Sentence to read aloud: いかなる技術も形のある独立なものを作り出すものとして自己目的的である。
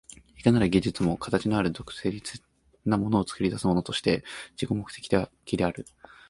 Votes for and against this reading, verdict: 1, 2, rejected